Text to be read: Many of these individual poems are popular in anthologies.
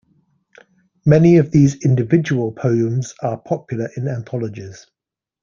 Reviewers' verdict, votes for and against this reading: accepted, 2, 0